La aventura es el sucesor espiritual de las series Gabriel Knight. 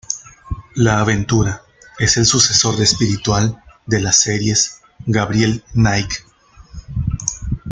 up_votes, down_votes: 0, 2